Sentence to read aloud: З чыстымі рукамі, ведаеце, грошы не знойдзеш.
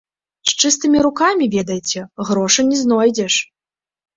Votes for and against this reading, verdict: 1, 2, rejected